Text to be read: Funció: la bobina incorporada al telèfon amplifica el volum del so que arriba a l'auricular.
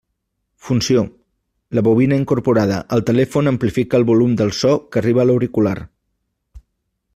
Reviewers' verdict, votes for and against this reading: accepted, 2, 0